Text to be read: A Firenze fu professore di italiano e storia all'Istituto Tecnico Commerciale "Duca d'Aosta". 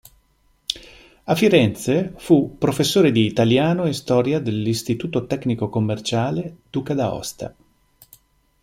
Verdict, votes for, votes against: rejected, 0, 2